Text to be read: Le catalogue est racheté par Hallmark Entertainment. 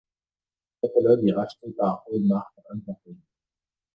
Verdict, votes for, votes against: rejected, 1, 2